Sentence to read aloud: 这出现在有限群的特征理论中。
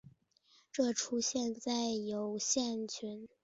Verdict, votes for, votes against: rejected, 0, 2